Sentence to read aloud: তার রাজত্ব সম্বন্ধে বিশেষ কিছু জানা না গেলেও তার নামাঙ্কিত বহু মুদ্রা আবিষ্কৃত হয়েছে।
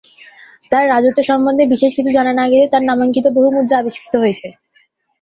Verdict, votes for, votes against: rejected, 1, 2